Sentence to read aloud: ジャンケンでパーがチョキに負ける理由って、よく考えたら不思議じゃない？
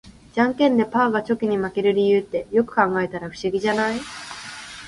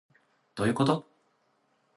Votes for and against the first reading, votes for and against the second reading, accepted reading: 2, 0, 0, 2, first